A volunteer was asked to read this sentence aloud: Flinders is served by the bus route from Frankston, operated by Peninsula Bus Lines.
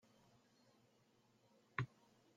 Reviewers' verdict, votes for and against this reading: rejected, 0, 2